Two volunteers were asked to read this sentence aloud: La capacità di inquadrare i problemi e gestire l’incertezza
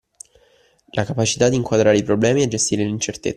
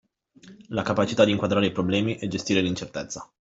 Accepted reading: second